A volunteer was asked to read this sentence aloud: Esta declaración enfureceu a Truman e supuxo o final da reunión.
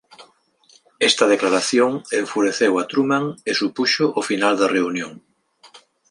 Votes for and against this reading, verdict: 2, 1, accepted